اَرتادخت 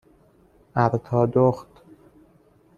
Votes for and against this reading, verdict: 2, 0, accepted